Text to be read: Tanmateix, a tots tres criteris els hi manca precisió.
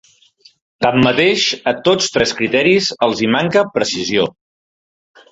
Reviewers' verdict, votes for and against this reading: accepted, 3, 1